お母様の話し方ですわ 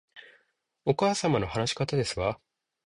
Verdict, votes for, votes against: accepted, 2, 0